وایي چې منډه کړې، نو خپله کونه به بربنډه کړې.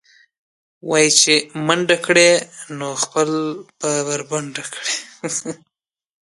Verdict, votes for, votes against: accepted, 2, 0